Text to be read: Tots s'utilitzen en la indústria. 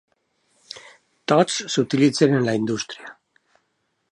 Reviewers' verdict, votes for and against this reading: accepted, 2, 0